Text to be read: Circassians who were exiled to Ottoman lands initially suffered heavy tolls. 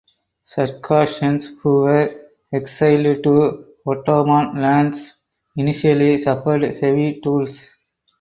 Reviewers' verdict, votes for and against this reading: rejected, 0, 4